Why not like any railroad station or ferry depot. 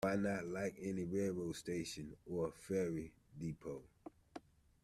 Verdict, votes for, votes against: rejected, 1, 2